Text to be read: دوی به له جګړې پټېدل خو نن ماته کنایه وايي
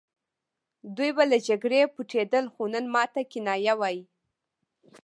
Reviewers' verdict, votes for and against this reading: rejected, 1, 2